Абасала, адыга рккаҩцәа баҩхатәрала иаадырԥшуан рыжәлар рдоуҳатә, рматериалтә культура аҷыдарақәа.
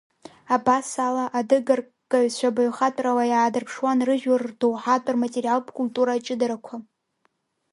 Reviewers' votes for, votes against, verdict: 2, 0, accepted